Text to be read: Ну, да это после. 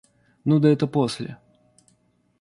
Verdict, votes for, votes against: rejected, 1, 2